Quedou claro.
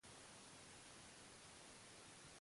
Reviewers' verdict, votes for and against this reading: rejected, 0, 2